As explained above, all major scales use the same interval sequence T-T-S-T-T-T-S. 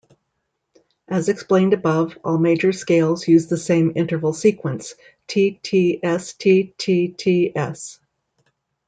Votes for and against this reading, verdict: 2, 0, accepted